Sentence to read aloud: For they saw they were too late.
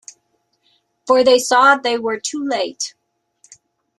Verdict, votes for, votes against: accepted, 2, 1